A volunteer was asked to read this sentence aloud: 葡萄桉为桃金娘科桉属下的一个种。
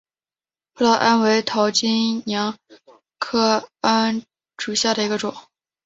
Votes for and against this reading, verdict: 4, 1, accepted